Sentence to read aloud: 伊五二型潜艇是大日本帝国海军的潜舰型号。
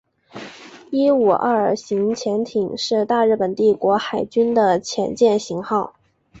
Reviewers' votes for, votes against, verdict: 2, 0, accepted